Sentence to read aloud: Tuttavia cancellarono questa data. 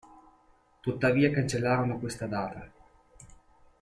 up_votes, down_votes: 1, 2